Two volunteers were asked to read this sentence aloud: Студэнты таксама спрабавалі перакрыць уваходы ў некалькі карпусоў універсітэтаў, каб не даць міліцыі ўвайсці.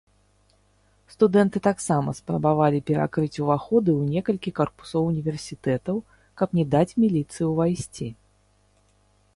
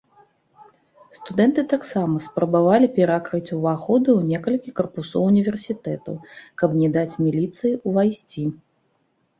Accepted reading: second